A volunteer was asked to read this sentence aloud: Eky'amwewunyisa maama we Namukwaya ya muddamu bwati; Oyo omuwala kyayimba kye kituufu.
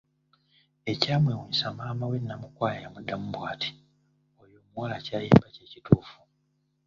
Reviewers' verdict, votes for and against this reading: rejected, 1, 2